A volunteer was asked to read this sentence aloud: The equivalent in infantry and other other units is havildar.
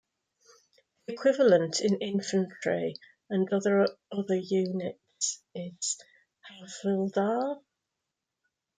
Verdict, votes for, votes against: rejected, 1, 2